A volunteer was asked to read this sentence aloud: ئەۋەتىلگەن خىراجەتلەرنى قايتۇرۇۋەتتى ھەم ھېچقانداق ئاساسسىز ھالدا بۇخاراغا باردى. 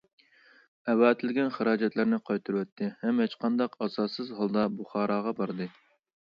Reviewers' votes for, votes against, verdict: 2, 1, accepted